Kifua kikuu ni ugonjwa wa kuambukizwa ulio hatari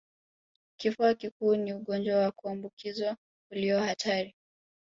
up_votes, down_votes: 2, 1